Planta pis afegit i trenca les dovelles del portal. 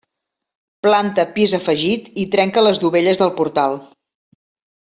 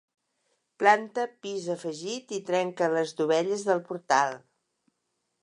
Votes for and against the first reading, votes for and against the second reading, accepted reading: 0, 2, 4, 0, second